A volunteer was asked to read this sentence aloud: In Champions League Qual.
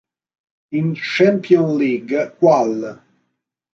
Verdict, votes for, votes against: rejected, 1, 2